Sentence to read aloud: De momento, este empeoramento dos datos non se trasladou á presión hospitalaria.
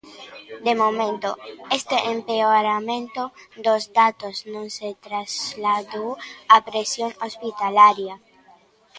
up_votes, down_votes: 1, 2